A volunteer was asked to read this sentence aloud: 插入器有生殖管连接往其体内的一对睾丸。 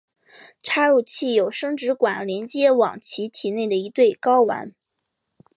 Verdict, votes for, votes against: accepted, 5, 0